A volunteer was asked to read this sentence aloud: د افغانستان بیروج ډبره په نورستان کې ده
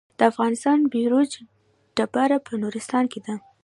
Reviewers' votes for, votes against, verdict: 2, 0, accepted